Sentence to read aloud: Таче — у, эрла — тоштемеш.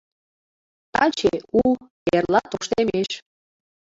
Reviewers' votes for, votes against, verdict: 2, 0, accepted